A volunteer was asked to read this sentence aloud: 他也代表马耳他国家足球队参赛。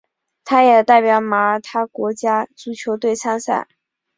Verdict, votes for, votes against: accepted, 5, 0